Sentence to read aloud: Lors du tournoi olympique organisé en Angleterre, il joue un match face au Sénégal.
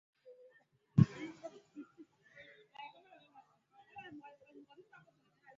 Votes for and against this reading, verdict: 0, 2, rejected